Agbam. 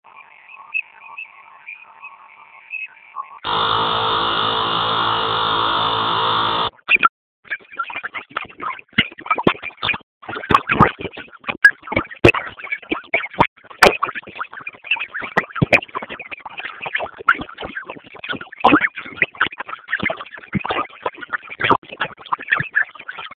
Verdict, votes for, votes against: rejected, 0, 2